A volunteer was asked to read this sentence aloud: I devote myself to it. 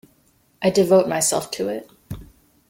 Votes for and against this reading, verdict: 2, 0, accepted